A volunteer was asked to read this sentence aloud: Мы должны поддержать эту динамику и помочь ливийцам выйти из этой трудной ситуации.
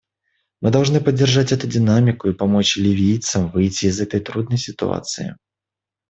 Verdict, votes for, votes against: accepted, 2, 0